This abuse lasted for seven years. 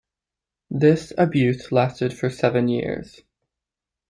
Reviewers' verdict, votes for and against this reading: rejected, 0, 2